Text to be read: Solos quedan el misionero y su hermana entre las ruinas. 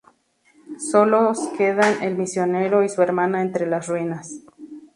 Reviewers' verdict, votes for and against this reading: accepted, 2, 0